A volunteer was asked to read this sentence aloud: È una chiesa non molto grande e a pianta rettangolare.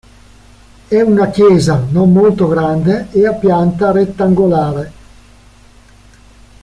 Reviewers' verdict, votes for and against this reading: accepted, 2, 0